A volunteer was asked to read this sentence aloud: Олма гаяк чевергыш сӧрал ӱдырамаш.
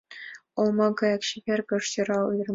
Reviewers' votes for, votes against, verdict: 1, 2, rejected